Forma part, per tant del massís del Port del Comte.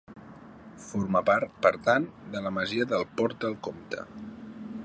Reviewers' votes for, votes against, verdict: 0, 2, rejected